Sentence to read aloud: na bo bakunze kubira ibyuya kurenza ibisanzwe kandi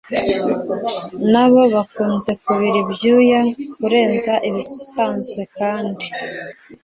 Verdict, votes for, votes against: accepted, 2, 0